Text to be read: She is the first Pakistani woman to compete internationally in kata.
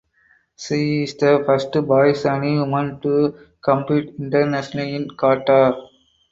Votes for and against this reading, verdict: 0, 2, rejected